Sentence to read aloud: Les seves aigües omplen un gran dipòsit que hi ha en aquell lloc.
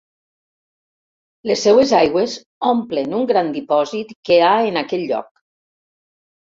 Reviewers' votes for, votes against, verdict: 0, 2, rejected